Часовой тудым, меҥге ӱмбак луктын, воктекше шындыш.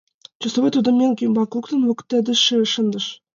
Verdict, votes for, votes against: rejected, 0, 2